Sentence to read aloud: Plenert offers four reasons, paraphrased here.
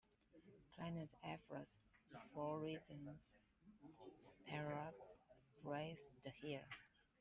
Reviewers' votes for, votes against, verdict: 0, 2, rejected